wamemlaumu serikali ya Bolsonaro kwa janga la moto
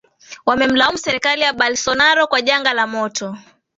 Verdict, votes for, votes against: accepted, 2, 0